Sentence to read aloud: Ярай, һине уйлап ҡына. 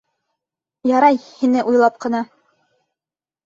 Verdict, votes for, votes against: accepted, 2, 0